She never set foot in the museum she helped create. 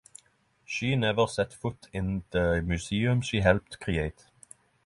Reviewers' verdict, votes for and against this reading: accepted, 3, 0